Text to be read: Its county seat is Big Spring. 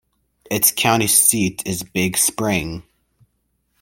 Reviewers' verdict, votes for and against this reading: accepted, 2, 0